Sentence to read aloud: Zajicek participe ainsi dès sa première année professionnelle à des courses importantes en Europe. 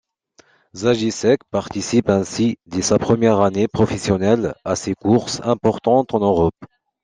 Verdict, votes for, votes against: rejected, 0, 2